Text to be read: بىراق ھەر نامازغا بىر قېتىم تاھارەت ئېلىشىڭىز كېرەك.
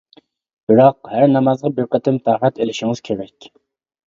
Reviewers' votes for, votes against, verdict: 2, 1, accepted